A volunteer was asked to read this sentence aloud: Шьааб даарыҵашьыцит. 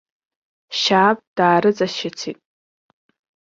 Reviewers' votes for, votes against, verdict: 0, 2, rejected